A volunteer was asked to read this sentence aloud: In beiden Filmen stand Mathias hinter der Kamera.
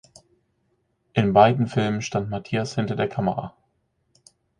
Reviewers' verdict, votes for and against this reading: accepted, 4, 0